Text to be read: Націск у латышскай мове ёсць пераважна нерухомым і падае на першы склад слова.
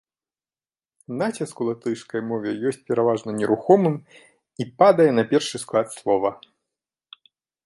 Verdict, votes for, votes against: accepted, 3, 1